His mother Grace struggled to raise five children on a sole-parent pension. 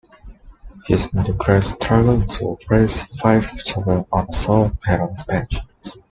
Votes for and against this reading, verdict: 2, 1, accepted